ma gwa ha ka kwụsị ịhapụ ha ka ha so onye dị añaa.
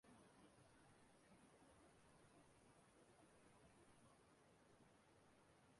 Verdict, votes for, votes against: rejected, 0, 2